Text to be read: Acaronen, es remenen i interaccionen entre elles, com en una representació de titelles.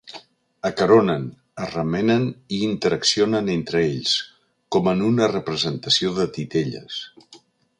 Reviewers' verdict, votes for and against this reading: rejected, 0, 2